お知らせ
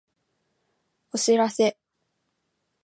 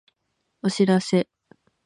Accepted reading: first